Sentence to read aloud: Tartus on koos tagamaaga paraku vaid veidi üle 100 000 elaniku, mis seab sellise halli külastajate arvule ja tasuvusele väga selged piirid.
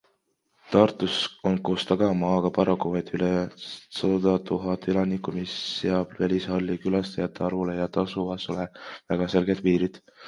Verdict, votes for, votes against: rejected, 0, 2